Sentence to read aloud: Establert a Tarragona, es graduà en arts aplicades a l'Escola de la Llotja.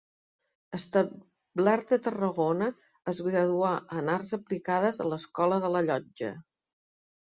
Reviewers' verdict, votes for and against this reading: rejected, 1, 3